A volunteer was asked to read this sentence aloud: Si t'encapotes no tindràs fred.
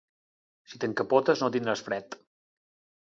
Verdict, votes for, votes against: accepted, 2, 0